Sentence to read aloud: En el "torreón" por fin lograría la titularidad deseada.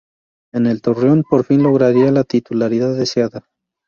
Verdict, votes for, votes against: accepted, 2, 0